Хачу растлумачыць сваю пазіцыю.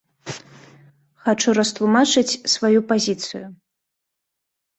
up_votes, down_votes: 2, 0